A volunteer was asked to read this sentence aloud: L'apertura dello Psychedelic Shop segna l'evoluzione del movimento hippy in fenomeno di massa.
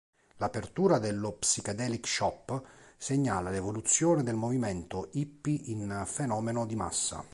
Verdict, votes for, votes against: accepted, 2, 1